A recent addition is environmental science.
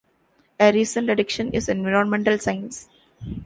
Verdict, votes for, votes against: rejected, 0, 3